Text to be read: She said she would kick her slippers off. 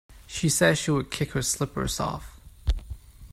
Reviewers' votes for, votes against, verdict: 2, 0, accepted